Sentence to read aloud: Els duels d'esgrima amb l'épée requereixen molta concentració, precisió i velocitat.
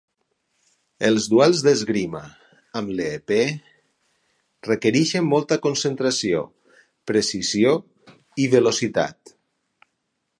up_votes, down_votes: 4, 2